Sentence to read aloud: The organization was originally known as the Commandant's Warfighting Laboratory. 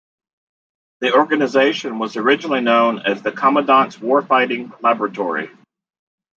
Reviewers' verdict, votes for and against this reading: accepted, 2, 1